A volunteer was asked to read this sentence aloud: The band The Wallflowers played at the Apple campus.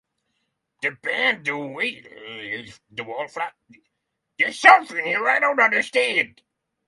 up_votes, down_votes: 0, 6